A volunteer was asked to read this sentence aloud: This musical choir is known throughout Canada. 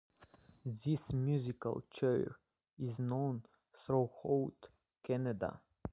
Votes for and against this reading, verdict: 0, 2, rejected